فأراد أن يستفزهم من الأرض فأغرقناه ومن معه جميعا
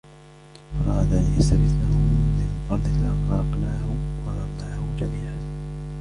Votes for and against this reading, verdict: 2, 1, accepted